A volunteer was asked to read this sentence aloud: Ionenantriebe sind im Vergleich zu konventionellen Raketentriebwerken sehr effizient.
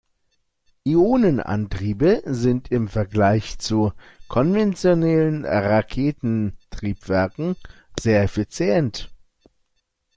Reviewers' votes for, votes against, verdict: 1, 2, rejected